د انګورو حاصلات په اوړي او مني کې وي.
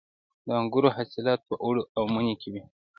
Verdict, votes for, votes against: rejected, 1, 2